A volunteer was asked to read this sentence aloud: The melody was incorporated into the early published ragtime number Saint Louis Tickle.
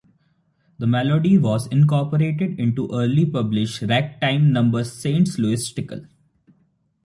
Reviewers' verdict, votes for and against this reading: rejected, 1, 2